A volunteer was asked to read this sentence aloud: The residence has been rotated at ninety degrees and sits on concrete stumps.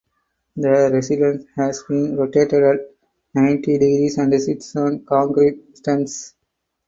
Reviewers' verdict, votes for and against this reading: rejected, 2, 4